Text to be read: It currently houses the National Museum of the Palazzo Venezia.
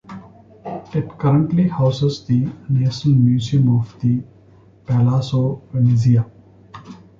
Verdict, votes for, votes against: rejected, 1, 2